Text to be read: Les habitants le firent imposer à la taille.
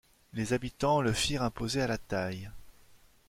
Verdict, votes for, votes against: accepted, 2, 0